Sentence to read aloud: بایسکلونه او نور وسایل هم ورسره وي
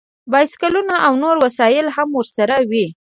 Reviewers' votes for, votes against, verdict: 1, 2, rejected